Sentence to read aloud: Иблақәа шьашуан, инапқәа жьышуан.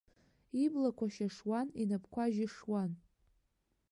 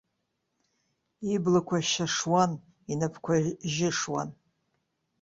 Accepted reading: first